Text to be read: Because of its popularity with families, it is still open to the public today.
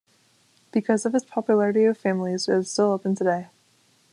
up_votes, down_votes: 1, 2